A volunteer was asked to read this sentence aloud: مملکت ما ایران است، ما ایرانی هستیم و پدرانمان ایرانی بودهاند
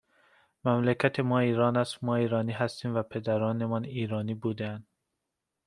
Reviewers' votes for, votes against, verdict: 2, 0, accepted